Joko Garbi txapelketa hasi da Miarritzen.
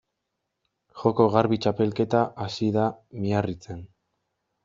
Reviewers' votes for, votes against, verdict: 2, 0, accepted